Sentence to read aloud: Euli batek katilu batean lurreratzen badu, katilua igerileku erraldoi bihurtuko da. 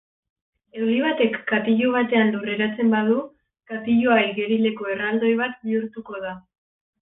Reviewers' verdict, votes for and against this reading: rejected, 0, 2